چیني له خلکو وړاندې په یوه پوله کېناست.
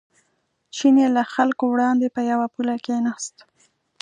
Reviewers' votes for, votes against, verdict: 2, 0, accepted